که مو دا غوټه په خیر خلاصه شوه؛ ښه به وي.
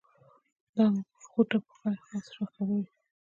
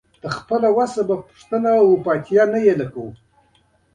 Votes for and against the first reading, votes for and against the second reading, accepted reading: 1, 2, 2, 0, second